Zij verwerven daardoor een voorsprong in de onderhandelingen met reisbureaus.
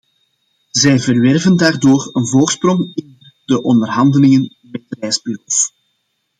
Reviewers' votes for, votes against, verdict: 1, 2, rejected